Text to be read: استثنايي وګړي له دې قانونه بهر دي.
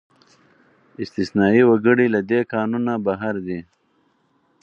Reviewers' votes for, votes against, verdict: 4, 0, accepted